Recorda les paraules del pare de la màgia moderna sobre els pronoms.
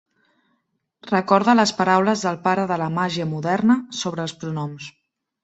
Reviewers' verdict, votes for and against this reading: accepted, 2, 0